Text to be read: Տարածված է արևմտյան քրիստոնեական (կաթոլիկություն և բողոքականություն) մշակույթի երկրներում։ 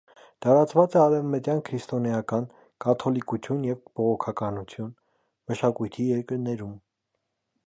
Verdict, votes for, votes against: accepted, 2, 0